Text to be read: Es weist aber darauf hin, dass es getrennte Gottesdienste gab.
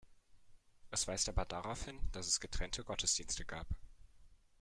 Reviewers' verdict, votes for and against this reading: rejected, 1, 2